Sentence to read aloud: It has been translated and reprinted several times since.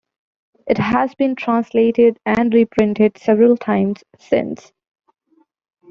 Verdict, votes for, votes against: accepted, 2, 1